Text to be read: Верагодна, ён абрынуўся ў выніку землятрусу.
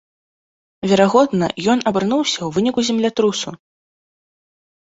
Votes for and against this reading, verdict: 0, 2, rejected